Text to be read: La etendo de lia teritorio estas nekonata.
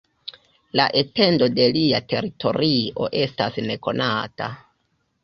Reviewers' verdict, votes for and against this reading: rejected, 1, 2